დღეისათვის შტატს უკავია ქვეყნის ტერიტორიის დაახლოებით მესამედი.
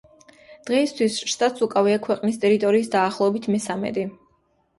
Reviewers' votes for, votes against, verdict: 2, 0, accepted